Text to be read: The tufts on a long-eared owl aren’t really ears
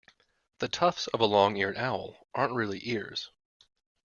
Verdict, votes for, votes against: rejected, 1, 2